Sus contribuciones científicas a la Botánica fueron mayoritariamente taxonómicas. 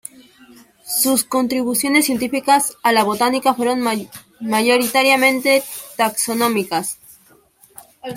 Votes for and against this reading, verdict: 0, 2, rejected